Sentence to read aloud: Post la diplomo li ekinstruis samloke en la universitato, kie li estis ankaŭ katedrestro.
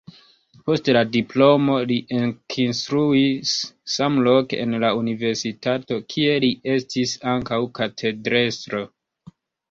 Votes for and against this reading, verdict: 2, 1, accepted